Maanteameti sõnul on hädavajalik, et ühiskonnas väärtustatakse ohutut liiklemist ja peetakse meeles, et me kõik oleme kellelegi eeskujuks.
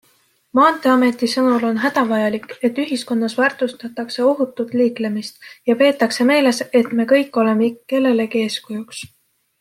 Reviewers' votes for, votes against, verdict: 2, 0, accepted